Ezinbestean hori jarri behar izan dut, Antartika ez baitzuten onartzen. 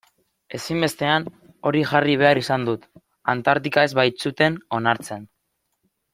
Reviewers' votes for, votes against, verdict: 2, 0, accepted